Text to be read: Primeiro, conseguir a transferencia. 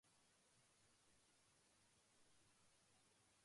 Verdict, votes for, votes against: rejected, 0, 2